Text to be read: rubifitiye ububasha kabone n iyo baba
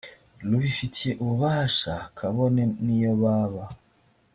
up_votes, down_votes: 3, 0